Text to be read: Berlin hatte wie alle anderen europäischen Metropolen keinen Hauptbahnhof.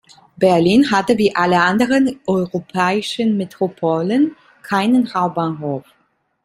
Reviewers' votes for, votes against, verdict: 1, 2, rejected